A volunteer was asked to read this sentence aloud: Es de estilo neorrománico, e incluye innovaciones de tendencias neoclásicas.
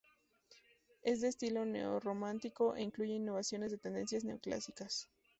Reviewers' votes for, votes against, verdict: 2, 0, accepted